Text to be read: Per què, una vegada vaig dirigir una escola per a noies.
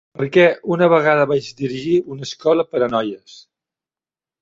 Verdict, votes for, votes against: accepted, 3, 0